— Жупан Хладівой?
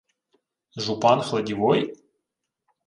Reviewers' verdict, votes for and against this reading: accepted, 2, 0